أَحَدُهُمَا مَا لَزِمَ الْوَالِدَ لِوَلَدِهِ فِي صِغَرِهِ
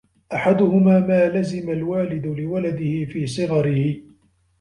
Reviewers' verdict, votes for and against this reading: rejected, 0, 2